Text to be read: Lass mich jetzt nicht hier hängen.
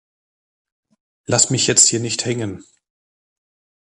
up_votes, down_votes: 1, 2